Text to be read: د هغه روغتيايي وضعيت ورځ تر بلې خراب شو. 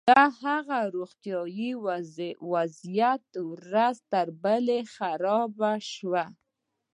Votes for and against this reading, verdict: 1, 2, rejected